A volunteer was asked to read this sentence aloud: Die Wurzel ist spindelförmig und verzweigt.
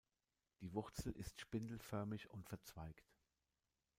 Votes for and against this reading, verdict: 2, 0, accepted